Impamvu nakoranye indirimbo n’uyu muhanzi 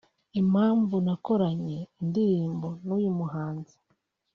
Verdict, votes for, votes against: accepted, 2, 0